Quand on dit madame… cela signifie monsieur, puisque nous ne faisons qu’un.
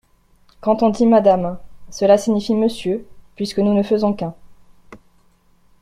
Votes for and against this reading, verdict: 2, 0, accepted